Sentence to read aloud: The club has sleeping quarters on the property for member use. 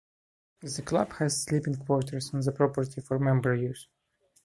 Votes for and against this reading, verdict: 1, 2, rejected